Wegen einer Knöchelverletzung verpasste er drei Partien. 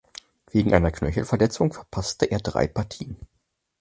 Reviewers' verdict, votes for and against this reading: accepted, 4, 0